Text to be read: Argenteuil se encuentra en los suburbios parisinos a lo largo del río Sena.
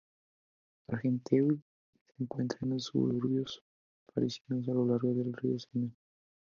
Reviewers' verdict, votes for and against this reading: rejected, 2, 2